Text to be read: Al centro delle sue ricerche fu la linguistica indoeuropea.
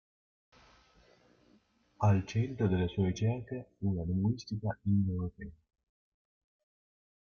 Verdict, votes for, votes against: rejected, 0, 2